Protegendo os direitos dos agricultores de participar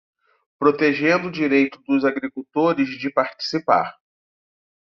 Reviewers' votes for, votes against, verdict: 0, 3, rejected